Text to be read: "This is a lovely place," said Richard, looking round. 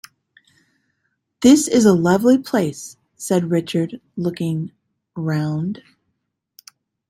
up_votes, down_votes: 2, 1